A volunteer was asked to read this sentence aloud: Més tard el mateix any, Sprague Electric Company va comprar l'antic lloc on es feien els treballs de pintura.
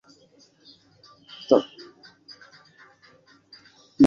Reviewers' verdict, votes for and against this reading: rejected, 0, 2